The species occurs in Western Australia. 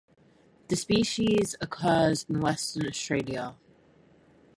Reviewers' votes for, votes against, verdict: 4, 2, accepted